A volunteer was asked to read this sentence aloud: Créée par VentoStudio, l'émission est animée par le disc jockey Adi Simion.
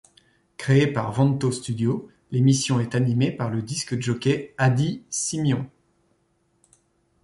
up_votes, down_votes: 3, 0